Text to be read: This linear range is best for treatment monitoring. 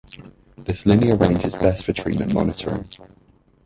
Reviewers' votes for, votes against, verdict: 0, 2, rejected